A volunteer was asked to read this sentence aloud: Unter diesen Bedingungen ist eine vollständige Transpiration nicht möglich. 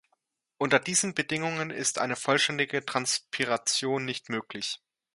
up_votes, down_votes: 2, 0